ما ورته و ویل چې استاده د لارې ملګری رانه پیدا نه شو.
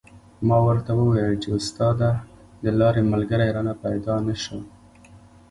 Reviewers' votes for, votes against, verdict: 2, 1, accepted